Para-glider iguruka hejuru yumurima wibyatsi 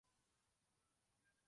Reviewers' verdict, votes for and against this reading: rejected, 0, 2